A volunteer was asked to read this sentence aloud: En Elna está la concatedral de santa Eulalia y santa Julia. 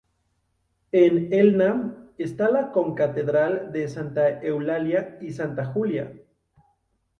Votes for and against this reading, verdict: 2, 2, rejected